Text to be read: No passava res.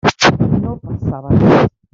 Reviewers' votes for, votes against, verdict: 0, 2, rejected